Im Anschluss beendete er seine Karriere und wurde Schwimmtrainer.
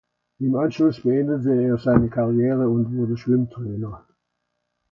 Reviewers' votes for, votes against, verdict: 2, 0, accepted